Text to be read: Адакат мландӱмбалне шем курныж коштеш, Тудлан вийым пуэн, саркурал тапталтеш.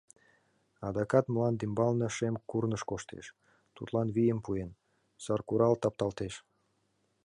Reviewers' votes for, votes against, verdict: 2, 0, accepted